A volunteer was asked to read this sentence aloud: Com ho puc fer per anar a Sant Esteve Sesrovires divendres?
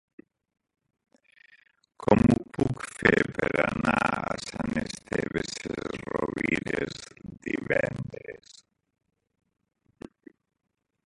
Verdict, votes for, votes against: rejected, 1, 2